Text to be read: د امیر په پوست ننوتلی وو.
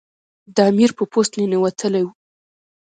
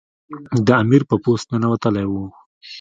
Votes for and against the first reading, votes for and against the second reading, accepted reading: 1, 2, 2, 0, second